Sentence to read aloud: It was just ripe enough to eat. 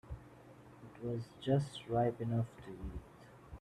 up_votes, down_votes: 2, 1